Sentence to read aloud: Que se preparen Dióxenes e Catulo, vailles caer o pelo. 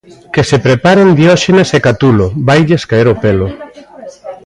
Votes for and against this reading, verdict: 0, 2, rejected